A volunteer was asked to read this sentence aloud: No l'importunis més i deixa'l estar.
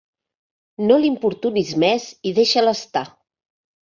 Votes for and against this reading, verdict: 3, 0, accepted